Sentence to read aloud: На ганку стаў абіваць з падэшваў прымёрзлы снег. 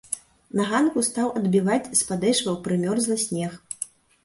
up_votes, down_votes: 1, 2